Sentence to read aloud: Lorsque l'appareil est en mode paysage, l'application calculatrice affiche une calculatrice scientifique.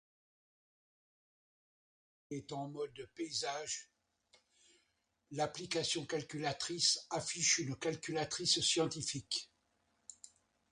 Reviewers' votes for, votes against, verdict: 1, 2, rejected